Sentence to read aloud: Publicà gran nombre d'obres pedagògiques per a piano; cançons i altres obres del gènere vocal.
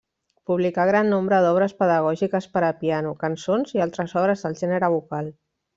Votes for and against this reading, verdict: 3, 0, accepted